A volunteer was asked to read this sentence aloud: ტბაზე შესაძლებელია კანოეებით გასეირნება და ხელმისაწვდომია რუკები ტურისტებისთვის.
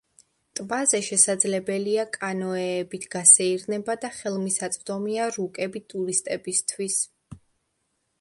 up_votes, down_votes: 2, 0